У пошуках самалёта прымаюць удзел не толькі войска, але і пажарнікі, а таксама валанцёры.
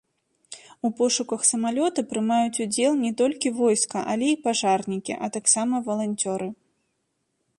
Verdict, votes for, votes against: accepted, 2, 0